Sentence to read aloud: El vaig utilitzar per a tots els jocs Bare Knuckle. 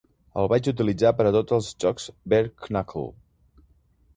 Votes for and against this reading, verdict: 2, 0, accepted